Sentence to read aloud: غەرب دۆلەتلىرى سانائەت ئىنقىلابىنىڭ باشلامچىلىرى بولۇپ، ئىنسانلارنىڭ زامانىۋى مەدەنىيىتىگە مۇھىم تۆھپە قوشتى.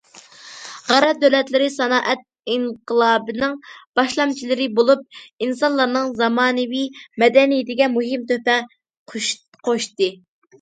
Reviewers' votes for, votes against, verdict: 0, 2, rejected